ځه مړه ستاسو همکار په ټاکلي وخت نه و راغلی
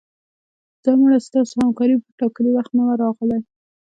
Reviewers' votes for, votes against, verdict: 2, 1, accepted